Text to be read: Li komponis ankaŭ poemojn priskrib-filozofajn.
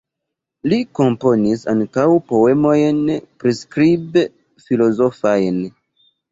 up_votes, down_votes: 0, 2